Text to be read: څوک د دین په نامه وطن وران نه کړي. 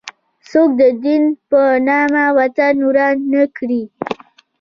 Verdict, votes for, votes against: accepted, 2, 0